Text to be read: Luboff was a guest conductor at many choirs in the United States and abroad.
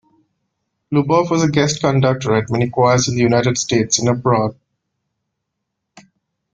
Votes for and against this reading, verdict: 0, 2, rejected